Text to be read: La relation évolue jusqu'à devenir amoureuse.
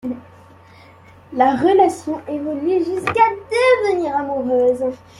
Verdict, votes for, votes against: rejected, 0, 2